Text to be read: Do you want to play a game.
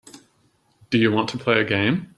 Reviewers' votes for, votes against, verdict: 2, 0, accepted